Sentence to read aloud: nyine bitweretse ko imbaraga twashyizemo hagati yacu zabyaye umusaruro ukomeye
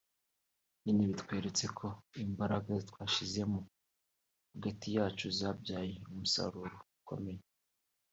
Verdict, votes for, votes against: accepted, 2, 0